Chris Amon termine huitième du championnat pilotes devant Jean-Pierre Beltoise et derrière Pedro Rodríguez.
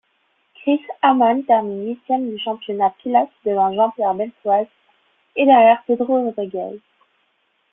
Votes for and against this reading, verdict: 2, 0, accepted